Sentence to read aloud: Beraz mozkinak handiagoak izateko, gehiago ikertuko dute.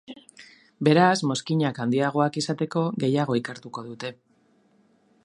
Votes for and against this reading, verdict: 2, 0, accepted